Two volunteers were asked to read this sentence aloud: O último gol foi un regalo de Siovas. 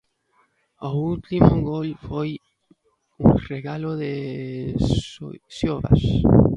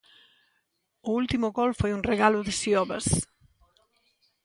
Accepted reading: second